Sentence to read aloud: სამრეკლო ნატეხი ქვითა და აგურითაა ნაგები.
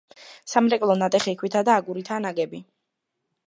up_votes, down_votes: 2, 0